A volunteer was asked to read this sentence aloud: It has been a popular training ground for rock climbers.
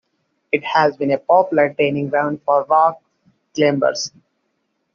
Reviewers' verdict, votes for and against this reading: rejected, 0, 2